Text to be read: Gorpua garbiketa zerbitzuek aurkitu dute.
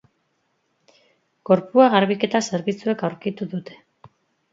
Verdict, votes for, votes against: accepted, 4, 0